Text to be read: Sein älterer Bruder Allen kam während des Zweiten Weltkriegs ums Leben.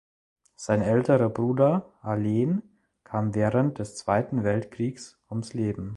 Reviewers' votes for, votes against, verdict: 1, 2, rejected